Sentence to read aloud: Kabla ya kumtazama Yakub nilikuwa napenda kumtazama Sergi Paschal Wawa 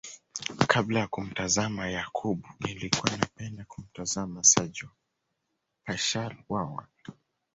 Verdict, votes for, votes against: rejected, 1, 2